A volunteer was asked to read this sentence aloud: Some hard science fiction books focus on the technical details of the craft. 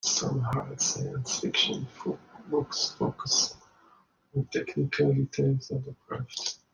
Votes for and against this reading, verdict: 0, 2, rejected